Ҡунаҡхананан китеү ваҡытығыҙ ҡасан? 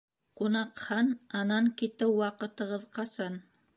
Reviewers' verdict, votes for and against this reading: rejected, 0, 2